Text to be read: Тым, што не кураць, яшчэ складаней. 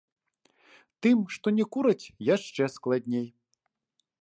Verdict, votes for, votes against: rejected, 0, 2